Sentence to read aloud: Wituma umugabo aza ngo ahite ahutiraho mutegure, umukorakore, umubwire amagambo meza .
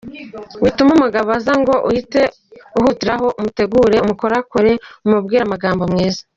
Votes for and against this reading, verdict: 1, 2, rejected